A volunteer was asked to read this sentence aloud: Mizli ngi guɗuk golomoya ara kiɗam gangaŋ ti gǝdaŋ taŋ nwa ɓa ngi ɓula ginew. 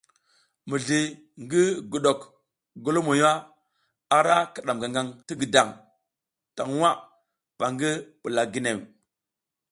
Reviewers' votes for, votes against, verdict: 2, 0, accepted